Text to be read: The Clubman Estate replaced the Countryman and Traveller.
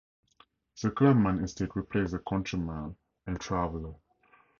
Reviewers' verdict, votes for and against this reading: accepted, 2, 0